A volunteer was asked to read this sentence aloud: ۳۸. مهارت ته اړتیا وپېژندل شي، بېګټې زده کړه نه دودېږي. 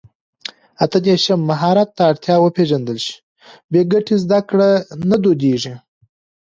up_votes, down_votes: 0, 2